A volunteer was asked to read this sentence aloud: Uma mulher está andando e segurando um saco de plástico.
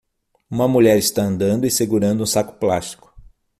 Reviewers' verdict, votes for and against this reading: rejected, 0, 6